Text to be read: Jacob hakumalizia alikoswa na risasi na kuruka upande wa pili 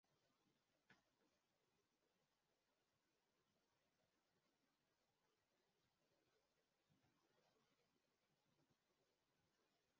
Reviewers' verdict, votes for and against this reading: rejected, 0, 2